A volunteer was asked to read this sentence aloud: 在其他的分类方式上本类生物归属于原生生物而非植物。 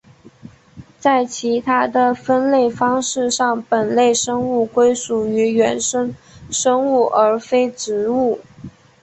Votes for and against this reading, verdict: 4, 1, accepted